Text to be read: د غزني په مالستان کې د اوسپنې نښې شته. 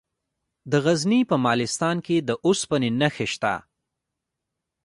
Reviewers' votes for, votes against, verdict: 2, 0, accepted